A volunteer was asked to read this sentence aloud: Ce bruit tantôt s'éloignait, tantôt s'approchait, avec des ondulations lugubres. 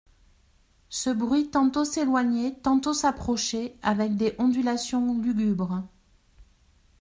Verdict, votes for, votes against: rejected, 1, 2